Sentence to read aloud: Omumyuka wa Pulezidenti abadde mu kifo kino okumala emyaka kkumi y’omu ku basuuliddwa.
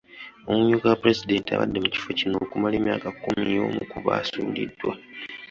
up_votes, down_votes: 2, 0